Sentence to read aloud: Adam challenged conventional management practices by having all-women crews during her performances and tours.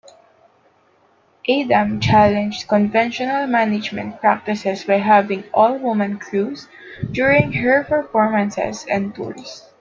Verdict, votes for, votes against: rejected, 0, 2